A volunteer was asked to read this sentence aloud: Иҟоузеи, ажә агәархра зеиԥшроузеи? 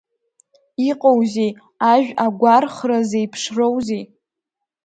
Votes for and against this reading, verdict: 0, 2, rejected